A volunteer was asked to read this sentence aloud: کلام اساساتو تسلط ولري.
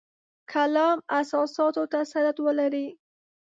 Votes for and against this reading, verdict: 1, 2, rejected